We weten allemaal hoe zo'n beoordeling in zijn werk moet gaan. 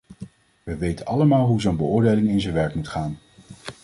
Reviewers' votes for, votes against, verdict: 2, 0, accepted